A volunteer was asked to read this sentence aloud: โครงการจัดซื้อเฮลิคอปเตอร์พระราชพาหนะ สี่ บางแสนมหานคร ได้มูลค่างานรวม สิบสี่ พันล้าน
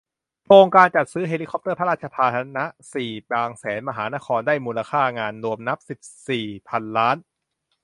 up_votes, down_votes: 0, 2